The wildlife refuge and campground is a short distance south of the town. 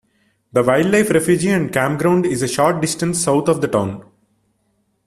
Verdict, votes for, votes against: rejected, 1, 2